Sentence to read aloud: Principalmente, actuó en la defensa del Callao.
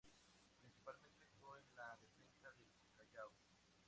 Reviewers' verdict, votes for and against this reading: accepted, 2, 0